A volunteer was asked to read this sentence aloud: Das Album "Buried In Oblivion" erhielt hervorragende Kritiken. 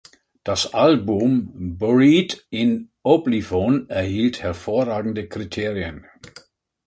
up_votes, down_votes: 1, 2